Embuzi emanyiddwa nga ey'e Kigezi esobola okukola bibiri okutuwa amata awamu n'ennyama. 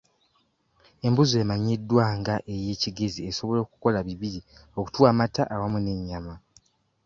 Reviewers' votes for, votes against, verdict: 2, 0, accepted